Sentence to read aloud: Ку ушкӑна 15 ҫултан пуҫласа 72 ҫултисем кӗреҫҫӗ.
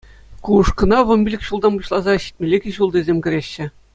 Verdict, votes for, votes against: rejected, 0, 2